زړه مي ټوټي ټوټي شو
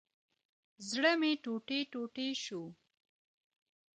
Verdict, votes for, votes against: accepted, 2, 0